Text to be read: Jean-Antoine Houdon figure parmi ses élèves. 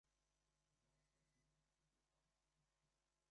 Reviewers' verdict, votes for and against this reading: rejected, 0, 2